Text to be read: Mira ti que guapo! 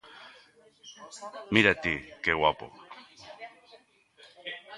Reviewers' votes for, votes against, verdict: 1, 2, rejected